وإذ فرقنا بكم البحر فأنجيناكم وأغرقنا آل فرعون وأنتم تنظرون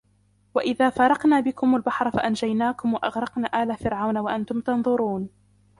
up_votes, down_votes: 2, 0